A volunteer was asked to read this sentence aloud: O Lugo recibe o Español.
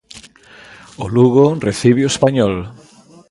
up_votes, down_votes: 2, 0